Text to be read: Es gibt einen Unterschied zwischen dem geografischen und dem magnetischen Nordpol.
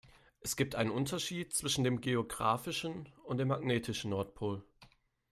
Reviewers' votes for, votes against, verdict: 2, 0, accepted